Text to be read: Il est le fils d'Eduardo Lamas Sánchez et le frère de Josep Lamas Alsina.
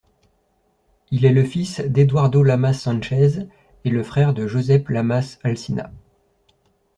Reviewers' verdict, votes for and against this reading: accepted, 2, 0